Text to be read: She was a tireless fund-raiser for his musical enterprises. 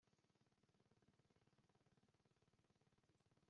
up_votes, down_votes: 0, 2